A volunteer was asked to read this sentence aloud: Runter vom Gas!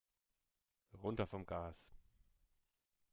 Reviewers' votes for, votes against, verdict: 2, 1, accepted